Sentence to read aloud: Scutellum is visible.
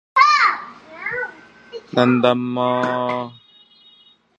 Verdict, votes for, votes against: rejected, 1, 2